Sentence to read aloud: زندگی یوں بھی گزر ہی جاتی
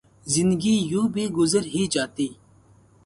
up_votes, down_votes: 2, 0